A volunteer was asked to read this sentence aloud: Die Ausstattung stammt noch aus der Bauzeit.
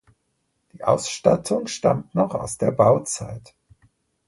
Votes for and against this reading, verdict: 2, 0, accepted